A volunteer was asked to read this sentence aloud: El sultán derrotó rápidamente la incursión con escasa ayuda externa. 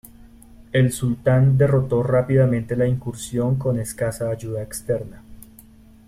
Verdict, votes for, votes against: accepted, 2, 0